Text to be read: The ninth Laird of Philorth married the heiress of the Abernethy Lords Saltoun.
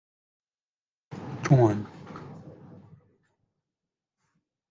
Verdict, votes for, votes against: rejected, 0, 2